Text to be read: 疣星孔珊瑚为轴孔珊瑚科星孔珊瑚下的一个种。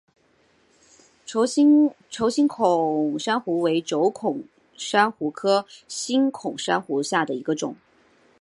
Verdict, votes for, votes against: rejected, 1, 3